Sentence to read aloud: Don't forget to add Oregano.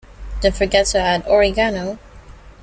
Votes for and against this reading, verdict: 0, 2, rejected